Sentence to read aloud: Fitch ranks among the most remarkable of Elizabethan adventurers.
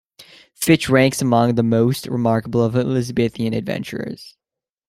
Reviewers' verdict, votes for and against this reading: accepted, 2, 0